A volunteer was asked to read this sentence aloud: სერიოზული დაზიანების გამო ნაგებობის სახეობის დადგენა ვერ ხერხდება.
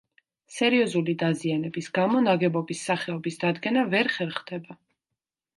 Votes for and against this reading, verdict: 3, 0, accepted